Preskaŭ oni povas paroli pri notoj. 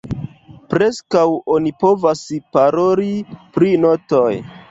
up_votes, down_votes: 1, 2